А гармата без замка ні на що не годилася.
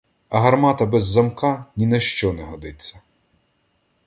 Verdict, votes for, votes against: rejected, 0, 2